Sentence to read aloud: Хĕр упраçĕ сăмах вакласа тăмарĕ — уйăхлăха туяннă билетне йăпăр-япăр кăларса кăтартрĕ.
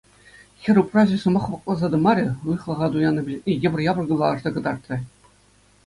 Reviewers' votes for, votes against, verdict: 2, 0, accepted